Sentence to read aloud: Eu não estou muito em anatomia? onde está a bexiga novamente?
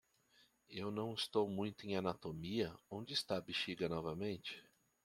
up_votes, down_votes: 2, 0